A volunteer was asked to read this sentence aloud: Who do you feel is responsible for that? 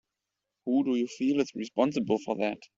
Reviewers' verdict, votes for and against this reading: accepted, 3, 0